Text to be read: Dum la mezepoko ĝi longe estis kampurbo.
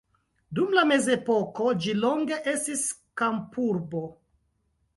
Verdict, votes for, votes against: accepted, 2, 0